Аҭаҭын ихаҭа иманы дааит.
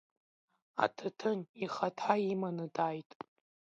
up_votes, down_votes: 2, 0